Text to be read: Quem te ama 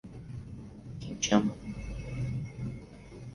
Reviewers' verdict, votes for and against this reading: rejected, 2, 2